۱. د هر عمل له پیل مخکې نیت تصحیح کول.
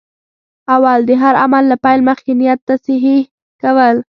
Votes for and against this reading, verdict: 0, 2, rejected